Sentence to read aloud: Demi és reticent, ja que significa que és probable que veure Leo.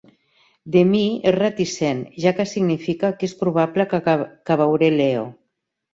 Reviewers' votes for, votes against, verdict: 1, 2, rejected